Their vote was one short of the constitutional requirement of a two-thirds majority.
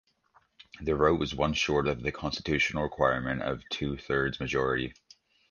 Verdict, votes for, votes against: accepted, 2, 1